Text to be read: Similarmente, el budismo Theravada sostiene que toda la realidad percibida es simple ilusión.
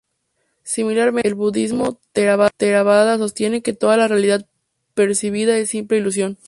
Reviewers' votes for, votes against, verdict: 0, 4, rejected